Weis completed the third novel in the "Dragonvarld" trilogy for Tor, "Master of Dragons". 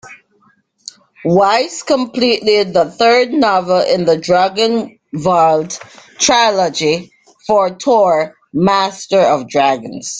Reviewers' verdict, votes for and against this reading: rejected, 0, 2